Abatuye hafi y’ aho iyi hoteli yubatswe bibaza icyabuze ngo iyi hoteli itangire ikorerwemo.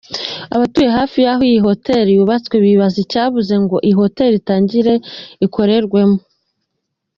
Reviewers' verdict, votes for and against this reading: accepted, 2, 0